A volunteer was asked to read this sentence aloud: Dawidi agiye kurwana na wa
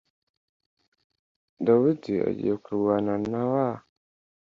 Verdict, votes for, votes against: accepted, 2, 0